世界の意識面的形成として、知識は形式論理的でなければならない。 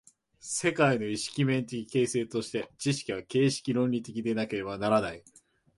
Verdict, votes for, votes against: accepted, 2, 0